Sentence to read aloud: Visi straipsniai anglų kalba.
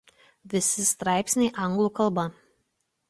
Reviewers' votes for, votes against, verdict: 2, 0, accepted